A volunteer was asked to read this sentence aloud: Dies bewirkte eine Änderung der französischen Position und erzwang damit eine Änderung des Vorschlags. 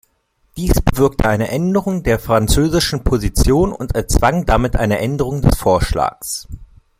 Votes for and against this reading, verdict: 1, 2, rejected